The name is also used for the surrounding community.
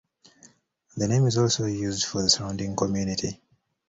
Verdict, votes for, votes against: accepted, 2, 0